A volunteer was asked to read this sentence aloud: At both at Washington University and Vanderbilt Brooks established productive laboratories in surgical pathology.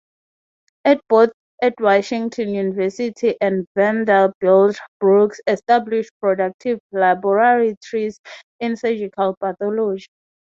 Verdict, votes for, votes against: rejected, 0, 3